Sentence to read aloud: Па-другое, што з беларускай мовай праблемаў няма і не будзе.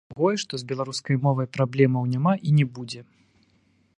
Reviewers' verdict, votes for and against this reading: rejected, 0, 2